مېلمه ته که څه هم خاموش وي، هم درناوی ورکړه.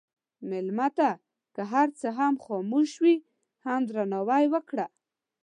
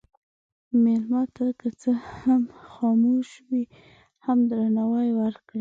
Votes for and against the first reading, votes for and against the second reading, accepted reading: 1, 2, 2, 1, second